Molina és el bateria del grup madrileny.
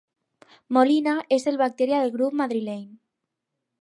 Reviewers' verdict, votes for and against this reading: rejected, 2, 2